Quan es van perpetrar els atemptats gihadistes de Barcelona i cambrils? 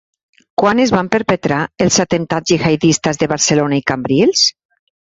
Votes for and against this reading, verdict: 2, 1, accepted